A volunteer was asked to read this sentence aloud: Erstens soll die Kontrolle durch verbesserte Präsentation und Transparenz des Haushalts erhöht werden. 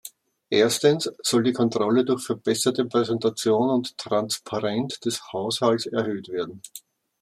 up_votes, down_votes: 0, 2